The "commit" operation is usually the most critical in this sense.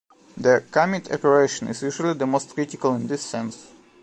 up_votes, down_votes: 2, 0